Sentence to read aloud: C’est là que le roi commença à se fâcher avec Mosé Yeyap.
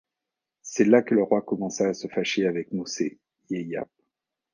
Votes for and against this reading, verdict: 2, 0, accepted